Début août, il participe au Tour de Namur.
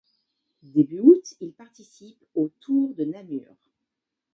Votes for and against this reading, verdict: 2, 1, accepted